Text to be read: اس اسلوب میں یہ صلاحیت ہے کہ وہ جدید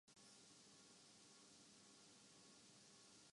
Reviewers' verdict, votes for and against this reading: rejected, 0, 3